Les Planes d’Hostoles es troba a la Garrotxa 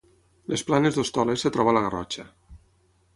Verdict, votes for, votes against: rejected, 3, 6